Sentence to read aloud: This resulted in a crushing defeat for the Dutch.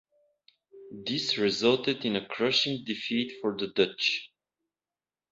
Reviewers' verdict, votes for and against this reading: accepted, 2, 1